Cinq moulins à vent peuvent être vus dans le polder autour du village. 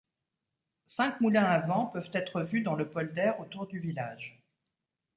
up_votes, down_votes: 2, 0